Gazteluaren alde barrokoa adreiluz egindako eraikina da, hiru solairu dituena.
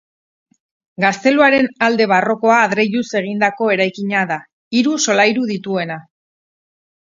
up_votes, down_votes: 4, 0